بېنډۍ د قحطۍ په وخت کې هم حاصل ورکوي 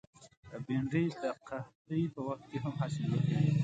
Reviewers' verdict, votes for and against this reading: accepted, 2, 0